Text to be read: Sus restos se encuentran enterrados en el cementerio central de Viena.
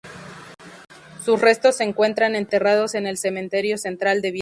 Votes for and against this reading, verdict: 2, 2, rejected